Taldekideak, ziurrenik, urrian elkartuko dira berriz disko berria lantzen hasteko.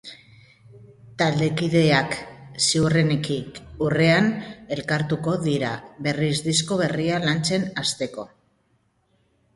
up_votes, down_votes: 0, 2